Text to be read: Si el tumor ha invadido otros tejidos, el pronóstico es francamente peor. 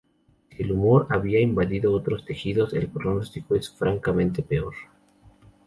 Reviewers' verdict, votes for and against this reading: accepted, 2, 0